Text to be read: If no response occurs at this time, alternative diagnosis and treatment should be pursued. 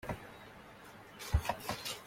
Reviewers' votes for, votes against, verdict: 0, 2, rejected